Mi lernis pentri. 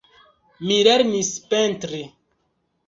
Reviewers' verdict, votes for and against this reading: rejected, 2, 3